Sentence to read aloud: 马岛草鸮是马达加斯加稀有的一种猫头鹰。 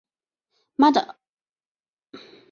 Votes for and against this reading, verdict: 1, 2, rejected